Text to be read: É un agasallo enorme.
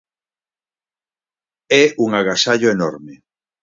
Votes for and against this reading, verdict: 4, 0, accepted